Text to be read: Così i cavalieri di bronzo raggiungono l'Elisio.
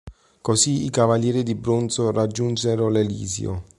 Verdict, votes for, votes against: rejected, 0, 3